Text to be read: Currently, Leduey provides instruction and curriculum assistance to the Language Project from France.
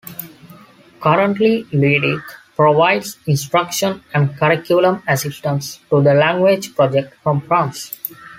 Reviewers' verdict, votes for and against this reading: accepted, 2, 0